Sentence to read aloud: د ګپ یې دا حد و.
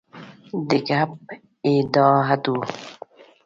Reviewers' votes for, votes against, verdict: 2, 3, rejected